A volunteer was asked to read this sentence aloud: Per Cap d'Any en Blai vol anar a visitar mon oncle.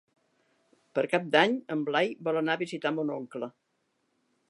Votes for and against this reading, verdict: 3, 0, accepted